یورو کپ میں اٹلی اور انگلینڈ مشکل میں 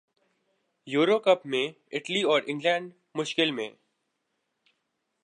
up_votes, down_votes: 5, 1